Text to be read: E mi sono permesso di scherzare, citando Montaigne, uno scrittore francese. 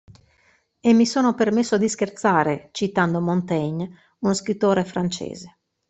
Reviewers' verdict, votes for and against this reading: accepted, 2, 0